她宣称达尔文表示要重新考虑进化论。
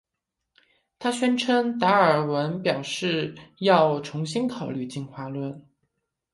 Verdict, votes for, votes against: accepted, 3, 0